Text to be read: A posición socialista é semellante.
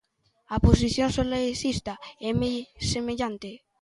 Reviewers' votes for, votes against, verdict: 0, 2, rejected